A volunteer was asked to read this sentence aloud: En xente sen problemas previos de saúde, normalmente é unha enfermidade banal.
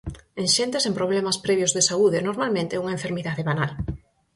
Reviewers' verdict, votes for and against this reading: accepted, 4, 0